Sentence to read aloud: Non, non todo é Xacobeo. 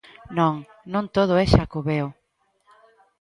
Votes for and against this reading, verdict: 2, 0, accepted